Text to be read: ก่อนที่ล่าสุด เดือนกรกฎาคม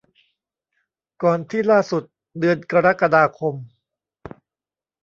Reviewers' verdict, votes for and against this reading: accepted, 3, 0